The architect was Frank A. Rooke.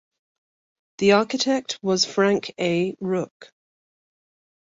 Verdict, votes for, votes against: accepted, 2, 0